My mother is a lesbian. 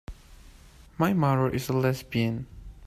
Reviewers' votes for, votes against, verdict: 2, 3, rejected